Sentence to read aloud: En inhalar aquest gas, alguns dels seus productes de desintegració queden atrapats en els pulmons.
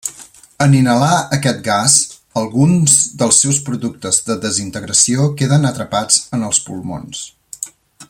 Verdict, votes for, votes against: rejected, 0, 2